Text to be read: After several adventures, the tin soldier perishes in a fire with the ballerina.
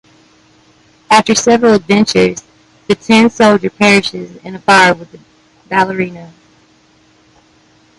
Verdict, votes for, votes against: rejected, 1, 2